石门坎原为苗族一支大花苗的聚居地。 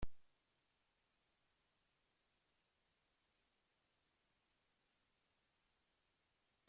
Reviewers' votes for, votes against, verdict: 0, 2, rejected